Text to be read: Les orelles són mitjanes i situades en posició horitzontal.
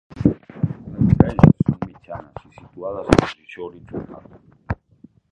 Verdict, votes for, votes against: rejected, 0, 2